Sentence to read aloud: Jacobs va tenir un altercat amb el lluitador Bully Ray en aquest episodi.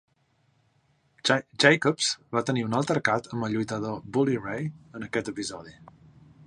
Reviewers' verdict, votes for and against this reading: rejected, 0, 3